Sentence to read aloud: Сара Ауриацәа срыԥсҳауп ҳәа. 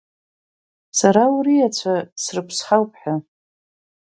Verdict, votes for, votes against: rejected, 0, 2